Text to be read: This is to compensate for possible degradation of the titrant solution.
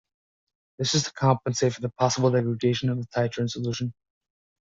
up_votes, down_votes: 0, 2